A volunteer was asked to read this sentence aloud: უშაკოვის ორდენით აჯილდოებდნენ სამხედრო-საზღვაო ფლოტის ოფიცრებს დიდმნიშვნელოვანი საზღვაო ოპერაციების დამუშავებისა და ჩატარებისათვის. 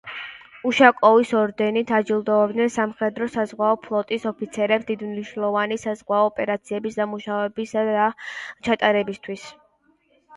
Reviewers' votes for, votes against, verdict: 0, 2, rejected